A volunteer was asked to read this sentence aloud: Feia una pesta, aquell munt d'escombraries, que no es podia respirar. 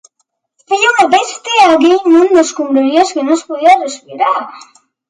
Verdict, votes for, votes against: accepted, 2, 1